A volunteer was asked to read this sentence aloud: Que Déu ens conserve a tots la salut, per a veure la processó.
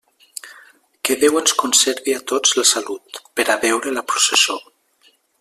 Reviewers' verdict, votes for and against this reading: accepted, 2, 0